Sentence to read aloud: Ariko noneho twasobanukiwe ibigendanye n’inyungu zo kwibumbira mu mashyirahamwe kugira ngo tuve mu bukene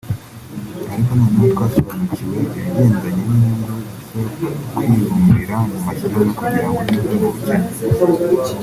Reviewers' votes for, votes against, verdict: 1, 2, rejected